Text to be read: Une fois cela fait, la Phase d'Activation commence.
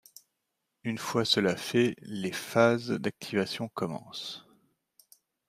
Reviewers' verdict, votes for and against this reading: rejected, 1, 2